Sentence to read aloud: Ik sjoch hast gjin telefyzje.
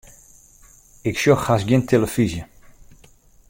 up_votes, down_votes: 2, 0